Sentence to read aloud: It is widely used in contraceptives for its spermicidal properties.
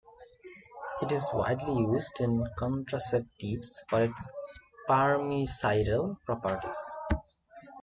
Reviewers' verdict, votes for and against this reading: rejected, 0, 2